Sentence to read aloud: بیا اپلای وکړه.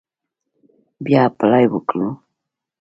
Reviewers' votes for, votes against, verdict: 2, 1, accepted